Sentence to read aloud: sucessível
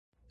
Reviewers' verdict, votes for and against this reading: rejected, 0, 2